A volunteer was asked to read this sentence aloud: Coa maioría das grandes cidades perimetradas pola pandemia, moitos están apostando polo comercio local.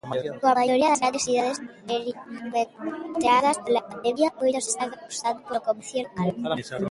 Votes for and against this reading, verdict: 0, 2, rejected